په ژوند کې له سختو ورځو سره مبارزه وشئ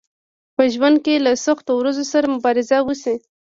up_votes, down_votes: 1, 2